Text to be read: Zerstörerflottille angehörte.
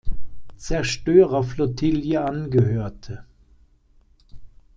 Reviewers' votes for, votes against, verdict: 0, 2, rejected